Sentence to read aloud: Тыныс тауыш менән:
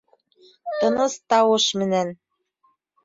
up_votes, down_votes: 1, 2